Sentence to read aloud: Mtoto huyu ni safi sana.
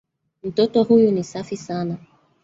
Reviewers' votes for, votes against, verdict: 1, 2, rejected